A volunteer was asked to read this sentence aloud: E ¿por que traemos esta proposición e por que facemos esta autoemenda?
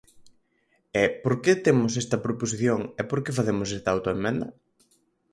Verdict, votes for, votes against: rejected, 2, 4